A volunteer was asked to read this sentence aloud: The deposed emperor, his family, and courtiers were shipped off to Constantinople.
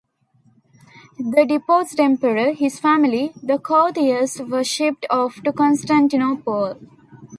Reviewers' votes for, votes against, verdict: 2, 0, accepted